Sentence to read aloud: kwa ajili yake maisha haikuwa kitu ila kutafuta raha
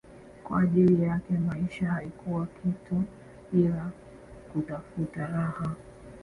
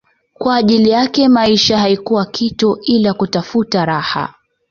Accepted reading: second